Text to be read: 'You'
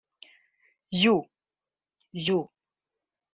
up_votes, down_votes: 0, 2